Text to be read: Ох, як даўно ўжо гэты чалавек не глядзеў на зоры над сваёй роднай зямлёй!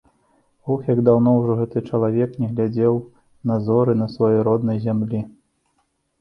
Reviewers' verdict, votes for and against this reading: rejected, 1, 2